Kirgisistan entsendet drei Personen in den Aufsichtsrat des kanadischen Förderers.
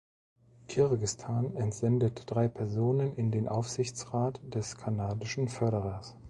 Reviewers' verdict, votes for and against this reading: rejected, 0, 2